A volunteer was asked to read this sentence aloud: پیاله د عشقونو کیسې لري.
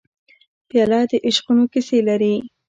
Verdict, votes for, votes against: accepted, 2, 1